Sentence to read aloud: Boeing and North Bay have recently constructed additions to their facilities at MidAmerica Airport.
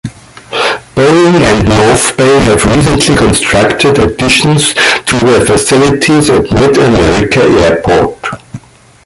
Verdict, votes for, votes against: rejected, 1, 2